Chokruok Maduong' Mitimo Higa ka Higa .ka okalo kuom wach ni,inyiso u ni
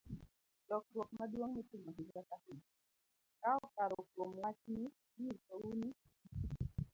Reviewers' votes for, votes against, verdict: 0, 2, rejected